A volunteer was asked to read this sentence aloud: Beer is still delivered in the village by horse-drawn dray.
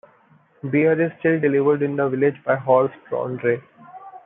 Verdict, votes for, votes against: accepted, 2, 0